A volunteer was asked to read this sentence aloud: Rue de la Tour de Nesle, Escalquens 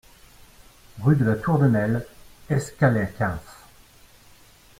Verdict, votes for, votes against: rejected, 0, 2